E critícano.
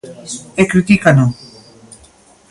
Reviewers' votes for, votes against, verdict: 2, 0, accepted